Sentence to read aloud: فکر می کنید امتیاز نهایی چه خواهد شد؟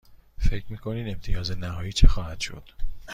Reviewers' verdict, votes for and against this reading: accepted, 2, 0